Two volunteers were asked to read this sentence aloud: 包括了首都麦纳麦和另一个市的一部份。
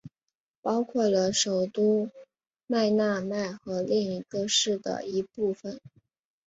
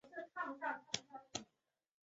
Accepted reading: first